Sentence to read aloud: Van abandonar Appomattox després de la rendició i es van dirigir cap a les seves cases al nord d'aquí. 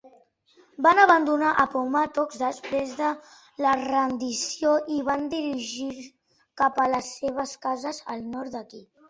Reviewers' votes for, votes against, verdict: 1, 2, rejected